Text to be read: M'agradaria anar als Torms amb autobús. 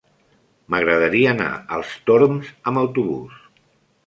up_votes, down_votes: 3, 0